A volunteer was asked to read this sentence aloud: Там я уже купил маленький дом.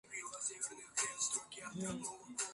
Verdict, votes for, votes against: rejected, 0, 2